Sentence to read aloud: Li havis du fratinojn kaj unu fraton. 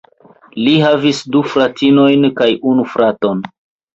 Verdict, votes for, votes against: rejected, 1, 2